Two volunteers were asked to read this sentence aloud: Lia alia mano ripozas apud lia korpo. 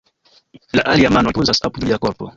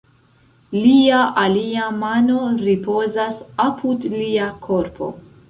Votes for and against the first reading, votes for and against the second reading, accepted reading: 1, 2, 2, 0, second